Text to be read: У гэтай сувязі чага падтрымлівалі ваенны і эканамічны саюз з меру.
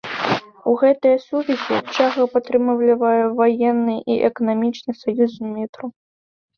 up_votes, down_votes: 0, 2